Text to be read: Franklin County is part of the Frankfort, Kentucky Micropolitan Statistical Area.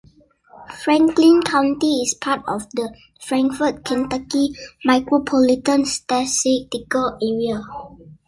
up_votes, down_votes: 0, 2